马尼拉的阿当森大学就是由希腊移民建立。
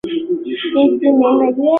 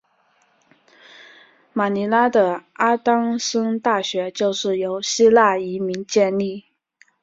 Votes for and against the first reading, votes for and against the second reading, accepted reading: 0, 3, 3, 0, second